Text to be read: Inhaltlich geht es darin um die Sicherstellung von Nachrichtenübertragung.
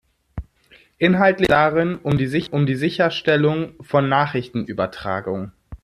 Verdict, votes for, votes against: rejected, 0, 2